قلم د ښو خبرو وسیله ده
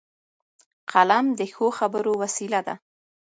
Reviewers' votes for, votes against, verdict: 2, 1, accepted